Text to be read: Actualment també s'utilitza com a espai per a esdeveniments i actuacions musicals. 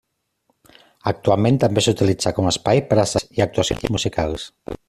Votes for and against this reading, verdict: 0, 2, rejected